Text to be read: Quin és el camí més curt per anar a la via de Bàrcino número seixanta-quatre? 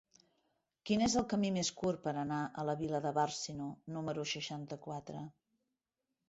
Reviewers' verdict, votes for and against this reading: accepted, 2, 0